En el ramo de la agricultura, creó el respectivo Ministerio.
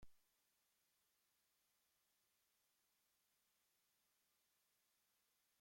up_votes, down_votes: 0, 2